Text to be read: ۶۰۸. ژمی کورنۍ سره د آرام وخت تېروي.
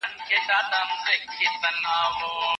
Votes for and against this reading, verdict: 0, 2, rejected